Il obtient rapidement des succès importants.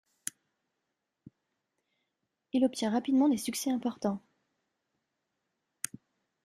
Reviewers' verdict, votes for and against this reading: accepted, 2, 0